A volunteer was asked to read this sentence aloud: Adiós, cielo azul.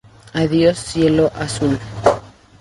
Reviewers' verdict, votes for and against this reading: accepted, 2, 0